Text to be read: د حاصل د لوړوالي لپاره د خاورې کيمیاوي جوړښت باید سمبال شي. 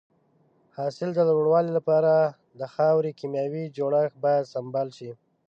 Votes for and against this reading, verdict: 1, 2, rejected